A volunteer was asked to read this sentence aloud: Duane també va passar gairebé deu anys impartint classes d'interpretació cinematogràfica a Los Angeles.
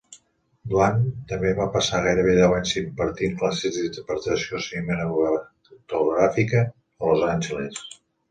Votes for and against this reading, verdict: 1, 2, rejected